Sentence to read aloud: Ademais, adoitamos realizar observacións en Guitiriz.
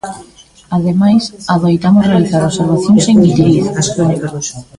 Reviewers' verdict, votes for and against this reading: rejected, 0, 2